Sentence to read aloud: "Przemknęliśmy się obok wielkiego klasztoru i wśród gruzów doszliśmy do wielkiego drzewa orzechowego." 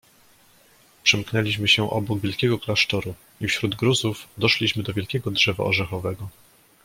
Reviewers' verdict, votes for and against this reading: accepted, 2, 0